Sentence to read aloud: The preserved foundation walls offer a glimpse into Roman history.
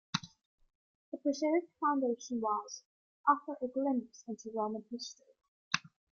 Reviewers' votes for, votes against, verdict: 0, 2, rejected